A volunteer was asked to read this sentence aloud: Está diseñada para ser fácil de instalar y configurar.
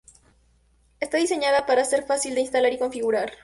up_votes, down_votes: 2, 0